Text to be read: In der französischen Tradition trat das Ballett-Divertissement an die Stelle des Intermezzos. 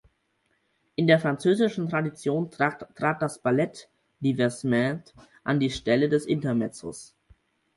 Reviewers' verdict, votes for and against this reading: rejected, 2, 4